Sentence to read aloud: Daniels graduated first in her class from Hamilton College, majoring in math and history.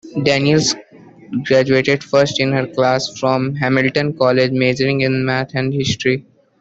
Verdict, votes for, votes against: accepted, 2, 0